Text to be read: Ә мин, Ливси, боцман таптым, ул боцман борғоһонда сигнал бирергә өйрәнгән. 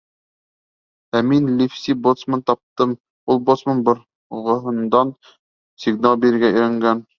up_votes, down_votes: 0, 2